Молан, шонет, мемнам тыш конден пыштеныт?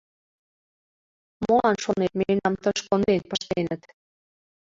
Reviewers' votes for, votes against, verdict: 2, 1, accepted